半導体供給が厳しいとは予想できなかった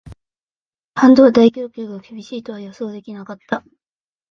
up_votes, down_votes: 1, 2